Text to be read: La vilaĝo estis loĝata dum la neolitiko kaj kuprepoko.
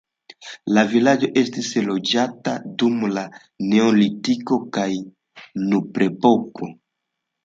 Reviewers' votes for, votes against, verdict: 2, 3, rejected